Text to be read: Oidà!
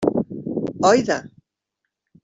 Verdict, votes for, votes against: rejected, 0, 2